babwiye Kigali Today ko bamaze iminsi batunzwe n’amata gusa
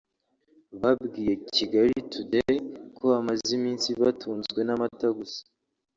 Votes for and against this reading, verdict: 1, 2, rejected